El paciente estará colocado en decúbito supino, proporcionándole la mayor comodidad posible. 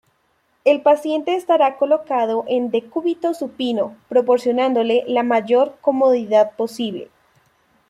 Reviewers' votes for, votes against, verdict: 2, 1, accepted